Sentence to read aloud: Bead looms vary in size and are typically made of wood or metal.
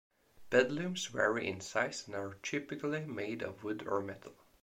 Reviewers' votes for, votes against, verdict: 1, 2, rejected